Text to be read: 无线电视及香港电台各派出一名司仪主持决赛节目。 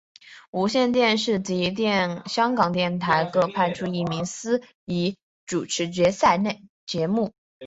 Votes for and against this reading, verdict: 2, 1, accepted